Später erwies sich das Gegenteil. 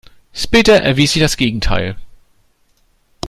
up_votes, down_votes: 0, 2